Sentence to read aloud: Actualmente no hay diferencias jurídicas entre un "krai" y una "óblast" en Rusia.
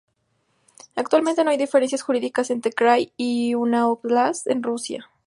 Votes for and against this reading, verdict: 0, 2, rejected